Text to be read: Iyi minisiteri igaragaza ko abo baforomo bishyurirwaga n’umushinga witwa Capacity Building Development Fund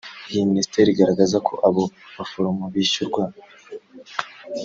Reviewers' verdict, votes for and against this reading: rejected, 0, 2